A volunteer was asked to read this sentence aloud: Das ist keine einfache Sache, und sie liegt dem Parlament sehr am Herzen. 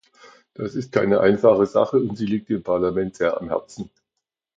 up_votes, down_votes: 2, 0